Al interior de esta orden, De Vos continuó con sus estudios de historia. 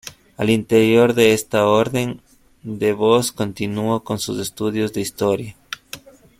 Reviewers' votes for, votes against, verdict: 2, 1, accepted